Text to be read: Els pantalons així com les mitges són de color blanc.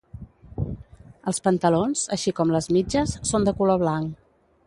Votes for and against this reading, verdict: 2, 0, accepted